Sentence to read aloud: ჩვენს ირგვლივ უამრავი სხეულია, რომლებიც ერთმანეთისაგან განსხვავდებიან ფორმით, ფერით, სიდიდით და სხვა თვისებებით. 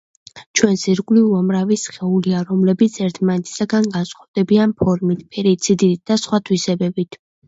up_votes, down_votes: 0, 2